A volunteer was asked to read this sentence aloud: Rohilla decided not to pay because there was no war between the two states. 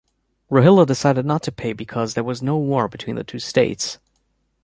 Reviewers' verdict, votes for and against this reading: accepted, 2, 0